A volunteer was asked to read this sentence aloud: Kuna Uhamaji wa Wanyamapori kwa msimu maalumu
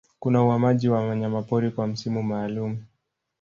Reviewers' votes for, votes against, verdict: 1, 2, rejected